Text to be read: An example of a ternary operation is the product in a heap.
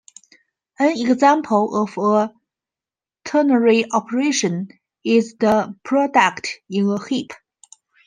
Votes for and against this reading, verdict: 0, 2, rejected